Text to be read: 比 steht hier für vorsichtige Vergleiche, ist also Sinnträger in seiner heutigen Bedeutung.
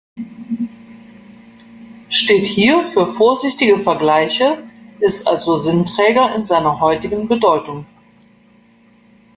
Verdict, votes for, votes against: rejected, 1, 2